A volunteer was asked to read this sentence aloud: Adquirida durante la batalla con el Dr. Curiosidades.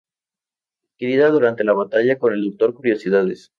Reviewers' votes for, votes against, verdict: 0, 2, rejected